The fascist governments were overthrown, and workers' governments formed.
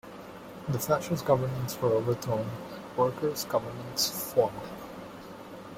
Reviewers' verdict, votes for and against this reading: accepted, 2, 0